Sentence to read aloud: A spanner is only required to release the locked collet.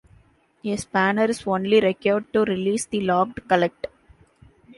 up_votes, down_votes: 0, 2